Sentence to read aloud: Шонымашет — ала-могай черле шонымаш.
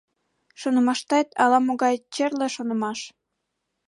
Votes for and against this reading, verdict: 2, 3, rejected